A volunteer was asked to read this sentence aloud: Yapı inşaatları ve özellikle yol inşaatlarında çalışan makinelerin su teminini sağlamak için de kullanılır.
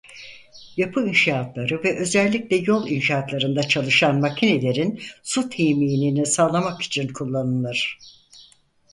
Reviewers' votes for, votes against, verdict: 0, 4, rejected